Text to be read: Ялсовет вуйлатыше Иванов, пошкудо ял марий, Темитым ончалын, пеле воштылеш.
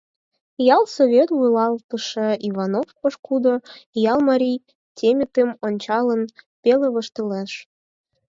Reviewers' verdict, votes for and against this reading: rejected, 2, 4